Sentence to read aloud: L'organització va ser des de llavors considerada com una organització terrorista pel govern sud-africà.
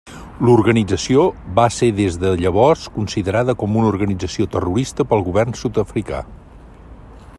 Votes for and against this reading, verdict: 3, 0, accepted